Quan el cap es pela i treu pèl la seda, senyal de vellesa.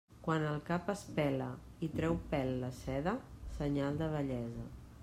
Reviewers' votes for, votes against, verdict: 2, 0, accepted